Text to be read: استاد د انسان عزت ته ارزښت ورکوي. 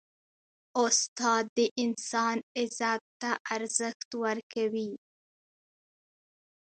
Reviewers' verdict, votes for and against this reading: rejected, 1, 2